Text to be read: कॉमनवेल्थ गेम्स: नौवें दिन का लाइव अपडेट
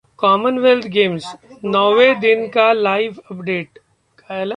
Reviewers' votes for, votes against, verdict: 1, 2, rejected